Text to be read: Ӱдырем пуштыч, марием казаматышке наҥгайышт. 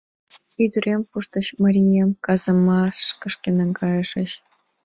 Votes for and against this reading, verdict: 0, 2, rejected